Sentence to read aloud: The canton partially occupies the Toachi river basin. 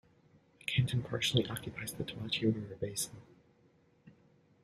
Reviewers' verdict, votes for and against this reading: accepted, 2, 1